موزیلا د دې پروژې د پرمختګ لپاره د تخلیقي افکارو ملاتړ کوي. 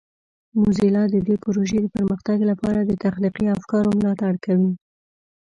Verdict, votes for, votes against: rejected, 1, 2